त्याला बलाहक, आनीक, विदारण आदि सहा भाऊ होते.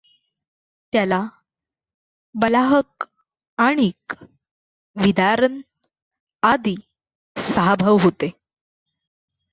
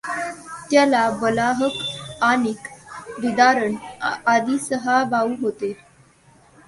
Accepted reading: second